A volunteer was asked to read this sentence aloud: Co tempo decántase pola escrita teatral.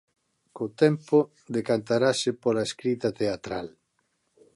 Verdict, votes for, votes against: rejected, 0, 2